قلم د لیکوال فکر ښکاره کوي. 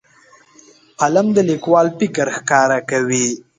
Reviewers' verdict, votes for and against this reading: accepted, 2, 0